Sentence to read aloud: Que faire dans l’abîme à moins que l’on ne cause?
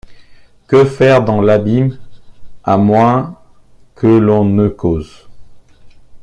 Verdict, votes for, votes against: accepted, 2, 1